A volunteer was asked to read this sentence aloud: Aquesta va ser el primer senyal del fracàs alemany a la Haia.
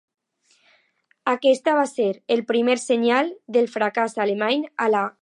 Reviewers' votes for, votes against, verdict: 0, 2, rejected